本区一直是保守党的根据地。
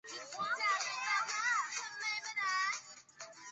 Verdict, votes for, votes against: rejected, 0, 2